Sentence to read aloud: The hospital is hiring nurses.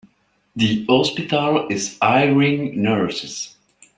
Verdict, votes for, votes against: rejected, 1, 2